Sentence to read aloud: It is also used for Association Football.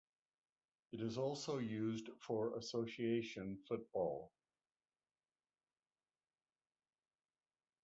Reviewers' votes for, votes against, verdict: 2, 0, accepted